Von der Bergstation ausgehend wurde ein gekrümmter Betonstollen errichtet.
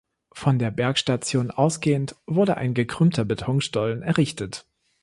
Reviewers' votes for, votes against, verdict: 2, 0, accepted